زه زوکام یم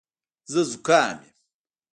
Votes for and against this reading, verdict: 1, 2, rejected